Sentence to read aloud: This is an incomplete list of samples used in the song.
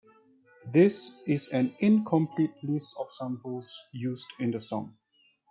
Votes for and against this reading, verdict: 0, 2, rejected